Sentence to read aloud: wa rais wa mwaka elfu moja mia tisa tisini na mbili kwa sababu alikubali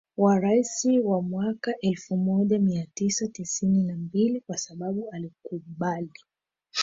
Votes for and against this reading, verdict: 1, 2, rejected